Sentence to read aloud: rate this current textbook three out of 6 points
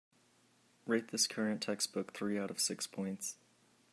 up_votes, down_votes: 0, 2